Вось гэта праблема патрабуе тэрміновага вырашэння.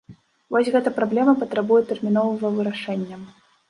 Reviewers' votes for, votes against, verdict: 0, 2, rejected